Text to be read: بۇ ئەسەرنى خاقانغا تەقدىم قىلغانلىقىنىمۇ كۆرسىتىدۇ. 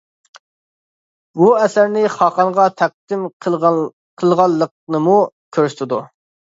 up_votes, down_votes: 2, 1